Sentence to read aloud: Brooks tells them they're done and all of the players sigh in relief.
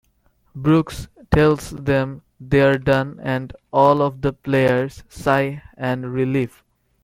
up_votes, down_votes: 0, 2